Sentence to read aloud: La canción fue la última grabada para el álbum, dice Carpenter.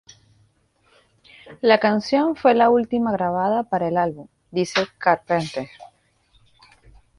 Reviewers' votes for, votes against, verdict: 0, 2, rejected